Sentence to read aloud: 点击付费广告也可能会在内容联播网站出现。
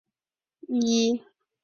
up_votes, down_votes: 1, 3